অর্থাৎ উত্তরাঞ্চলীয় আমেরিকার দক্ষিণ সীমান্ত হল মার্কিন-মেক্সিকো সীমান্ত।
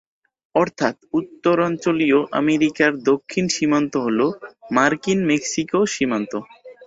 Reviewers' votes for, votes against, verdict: 4, 0, accepted